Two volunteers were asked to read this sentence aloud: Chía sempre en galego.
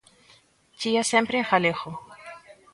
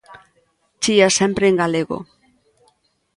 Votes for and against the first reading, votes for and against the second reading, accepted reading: 1, 2, 2, 0, second